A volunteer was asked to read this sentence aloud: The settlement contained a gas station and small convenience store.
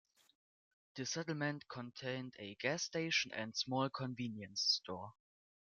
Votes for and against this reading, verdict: 2, 0, accepted